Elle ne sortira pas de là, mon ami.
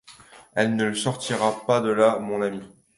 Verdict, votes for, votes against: rejected, 0, 2